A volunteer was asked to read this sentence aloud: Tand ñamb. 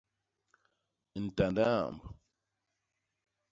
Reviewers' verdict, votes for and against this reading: rejected, 0, 2